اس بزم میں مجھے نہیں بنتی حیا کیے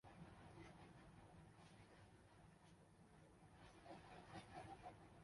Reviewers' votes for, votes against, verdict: 0, 2, rejected